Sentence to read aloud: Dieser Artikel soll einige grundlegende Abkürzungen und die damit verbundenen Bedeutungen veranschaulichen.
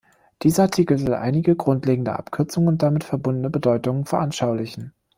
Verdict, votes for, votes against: rejected, 1, 2